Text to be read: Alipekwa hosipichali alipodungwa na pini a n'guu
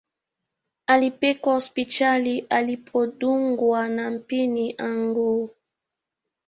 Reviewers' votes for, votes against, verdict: 0, 2, rejected